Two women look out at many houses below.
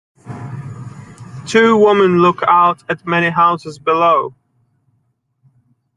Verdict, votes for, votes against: accepted, 2, 0